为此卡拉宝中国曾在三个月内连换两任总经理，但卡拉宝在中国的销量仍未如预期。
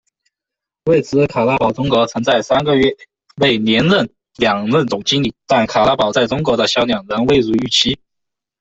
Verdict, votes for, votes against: rejected, 0, 2